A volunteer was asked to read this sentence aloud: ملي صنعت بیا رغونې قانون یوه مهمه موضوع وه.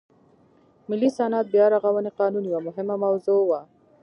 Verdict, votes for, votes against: rejected, 0, 2